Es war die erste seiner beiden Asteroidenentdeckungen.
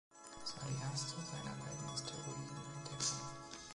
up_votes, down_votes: 0, 2